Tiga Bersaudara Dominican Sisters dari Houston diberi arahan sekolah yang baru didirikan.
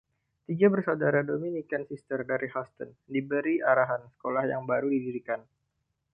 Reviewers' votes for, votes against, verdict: 1, 2, rejected